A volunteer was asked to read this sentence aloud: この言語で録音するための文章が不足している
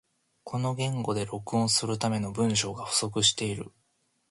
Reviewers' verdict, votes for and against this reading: accepted, 2, 0